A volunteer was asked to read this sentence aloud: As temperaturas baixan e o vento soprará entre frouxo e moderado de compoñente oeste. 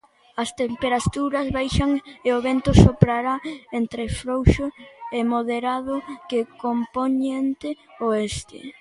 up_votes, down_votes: 0, 2